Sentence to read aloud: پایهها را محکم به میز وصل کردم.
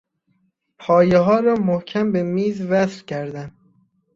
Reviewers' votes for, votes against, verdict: 2, 0, accepted